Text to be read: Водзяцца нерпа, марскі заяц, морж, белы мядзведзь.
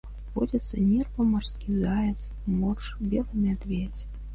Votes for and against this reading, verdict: 1, 3, rejected